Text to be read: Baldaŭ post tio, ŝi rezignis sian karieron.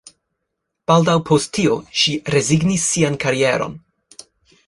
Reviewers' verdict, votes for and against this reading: accepted, 2, 1